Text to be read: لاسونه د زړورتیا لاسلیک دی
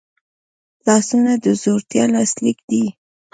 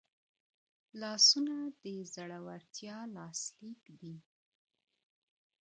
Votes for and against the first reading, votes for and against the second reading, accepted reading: 1, 2, 3, 0, second